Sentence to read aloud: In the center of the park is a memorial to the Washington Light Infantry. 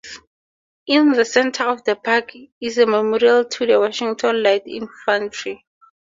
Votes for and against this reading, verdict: 2, 0, accepted